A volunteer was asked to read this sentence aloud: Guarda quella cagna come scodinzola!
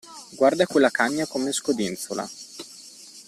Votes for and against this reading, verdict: 2, 0, accepted